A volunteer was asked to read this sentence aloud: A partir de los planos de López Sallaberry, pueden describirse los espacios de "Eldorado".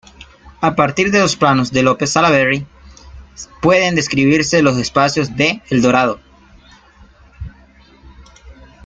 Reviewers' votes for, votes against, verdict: 2, 0, accepted